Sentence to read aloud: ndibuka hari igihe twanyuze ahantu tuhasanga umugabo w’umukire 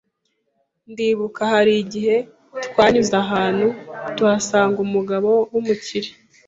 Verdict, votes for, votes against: accepted, 2, 0